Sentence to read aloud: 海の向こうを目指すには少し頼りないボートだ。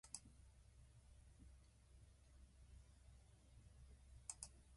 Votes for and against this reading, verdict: 1, 17, rejected